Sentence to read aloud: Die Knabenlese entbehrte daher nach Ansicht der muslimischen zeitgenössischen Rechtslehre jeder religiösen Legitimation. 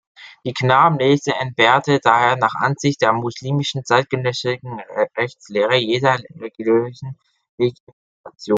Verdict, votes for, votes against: rejected, 0, 2